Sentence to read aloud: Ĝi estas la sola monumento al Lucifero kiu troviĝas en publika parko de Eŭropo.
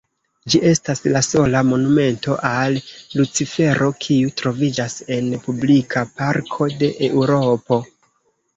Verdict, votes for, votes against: rejected, 0, 2